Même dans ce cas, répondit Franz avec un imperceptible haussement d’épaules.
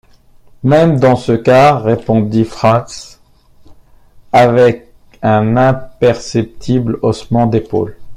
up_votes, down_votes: 1, 2